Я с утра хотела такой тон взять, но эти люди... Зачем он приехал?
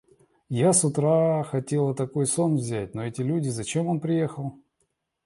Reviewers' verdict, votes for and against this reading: rejected, 1, 2